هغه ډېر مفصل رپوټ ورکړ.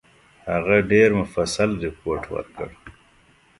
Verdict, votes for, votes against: accepted, 2, 0